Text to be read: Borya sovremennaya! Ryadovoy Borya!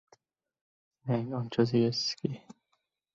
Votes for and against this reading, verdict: 0, 2, rejected